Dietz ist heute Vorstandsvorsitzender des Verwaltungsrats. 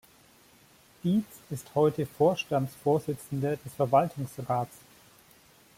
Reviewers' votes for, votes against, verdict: 2, 0, accepted